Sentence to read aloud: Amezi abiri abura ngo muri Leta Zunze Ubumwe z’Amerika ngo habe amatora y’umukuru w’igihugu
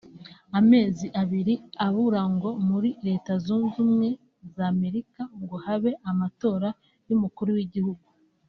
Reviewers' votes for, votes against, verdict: 2, 0, accepted